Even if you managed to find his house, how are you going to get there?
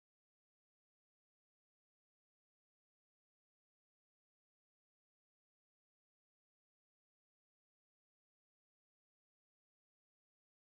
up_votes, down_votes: 0, 2